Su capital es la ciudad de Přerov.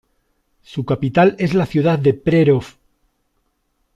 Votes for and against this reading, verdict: 2, 0, accepted